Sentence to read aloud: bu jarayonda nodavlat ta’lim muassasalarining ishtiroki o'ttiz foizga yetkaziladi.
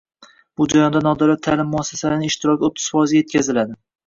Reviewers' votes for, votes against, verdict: 0, 2, rejected